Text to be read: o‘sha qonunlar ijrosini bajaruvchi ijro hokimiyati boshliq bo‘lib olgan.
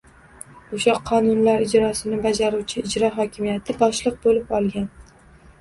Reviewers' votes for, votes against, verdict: 1, 2, rejected